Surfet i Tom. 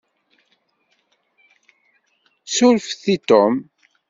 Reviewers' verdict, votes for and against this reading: accepted, 2, 0